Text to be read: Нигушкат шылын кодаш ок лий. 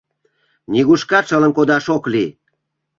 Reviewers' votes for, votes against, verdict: 2, 0, accepted